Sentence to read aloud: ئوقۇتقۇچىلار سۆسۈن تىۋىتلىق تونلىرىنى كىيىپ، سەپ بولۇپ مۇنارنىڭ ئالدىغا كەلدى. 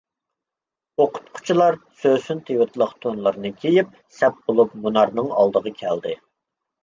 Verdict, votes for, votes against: accepted, 2, 0